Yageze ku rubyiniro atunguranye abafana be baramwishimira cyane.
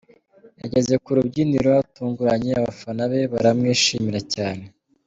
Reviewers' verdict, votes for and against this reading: accepted, 2, 0